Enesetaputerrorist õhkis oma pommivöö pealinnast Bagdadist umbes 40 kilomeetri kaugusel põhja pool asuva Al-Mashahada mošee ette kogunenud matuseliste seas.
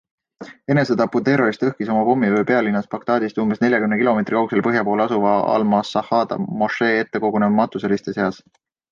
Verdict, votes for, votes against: rejected, 0, 2